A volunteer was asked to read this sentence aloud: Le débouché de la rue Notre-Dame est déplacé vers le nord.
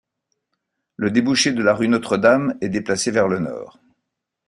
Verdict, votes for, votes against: accepted, 2, 0